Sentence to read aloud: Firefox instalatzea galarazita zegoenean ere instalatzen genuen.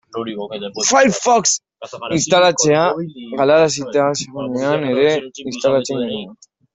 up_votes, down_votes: 0, 2